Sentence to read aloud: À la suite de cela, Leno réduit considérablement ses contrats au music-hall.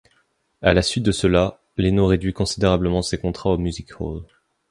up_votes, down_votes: 2, 0